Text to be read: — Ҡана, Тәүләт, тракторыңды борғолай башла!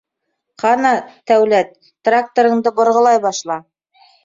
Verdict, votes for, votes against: accepted, 2, 0